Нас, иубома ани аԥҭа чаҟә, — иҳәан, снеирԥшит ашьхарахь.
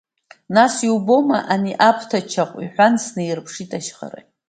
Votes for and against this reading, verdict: 2, 0, accepted